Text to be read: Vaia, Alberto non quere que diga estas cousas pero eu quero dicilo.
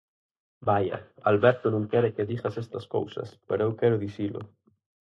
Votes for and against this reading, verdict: 0, 4, rejected